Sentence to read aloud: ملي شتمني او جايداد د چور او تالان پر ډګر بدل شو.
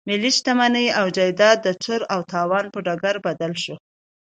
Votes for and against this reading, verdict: 2, 0, accepted